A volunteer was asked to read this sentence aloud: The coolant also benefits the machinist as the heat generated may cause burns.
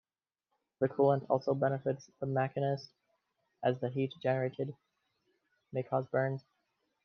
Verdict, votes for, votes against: rejected, 1, 2